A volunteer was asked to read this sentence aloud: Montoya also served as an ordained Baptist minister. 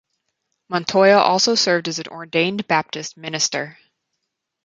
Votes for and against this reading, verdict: 4, 0, accepted